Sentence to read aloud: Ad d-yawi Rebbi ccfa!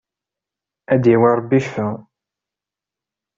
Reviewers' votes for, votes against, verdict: 2, 0, accepted